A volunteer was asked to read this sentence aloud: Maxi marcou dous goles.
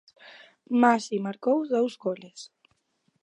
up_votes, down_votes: 2, 0